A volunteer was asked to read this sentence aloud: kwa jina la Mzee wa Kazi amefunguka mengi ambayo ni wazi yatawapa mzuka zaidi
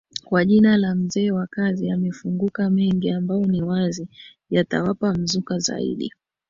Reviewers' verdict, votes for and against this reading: accepted, 2, 0